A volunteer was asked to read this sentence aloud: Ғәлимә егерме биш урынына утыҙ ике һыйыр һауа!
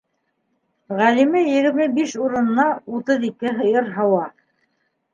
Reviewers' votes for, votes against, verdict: 2, 1, accepted